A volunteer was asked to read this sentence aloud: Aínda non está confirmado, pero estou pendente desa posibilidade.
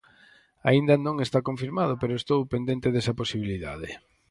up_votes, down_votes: 4, 0